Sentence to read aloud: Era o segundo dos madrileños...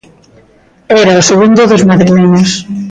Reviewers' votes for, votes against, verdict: 1, 2, rejected